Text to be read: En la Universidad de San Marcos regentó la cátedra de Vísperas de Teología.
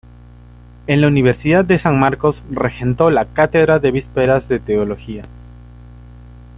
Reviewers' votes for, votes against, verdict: 2, 0, accepted